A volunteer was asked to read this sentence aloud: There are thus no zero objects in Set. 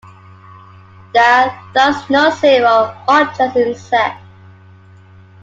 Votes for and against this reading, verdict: 1, 2, rejected